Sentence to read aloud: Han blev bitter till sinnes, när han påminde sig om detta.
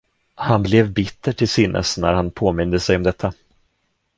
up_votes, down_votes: 1, 2